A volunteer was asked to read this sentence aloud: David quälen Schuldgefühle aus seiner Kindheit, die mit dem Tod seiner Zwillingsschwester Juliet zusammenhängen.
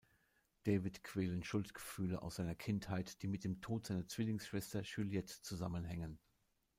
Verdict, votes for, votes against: rejected, 1, 2